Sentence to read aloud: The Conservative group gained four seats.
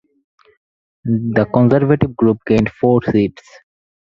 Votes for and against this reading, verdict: 4, 2, accepted